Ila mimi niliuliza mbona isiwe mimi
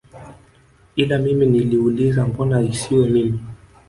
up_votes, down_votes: 0, 2